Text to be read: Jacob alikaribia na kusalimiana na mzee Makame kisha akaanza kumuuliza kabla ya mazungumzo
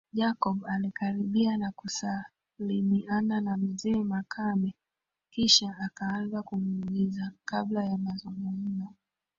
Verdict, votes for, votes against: accepted, 2, 1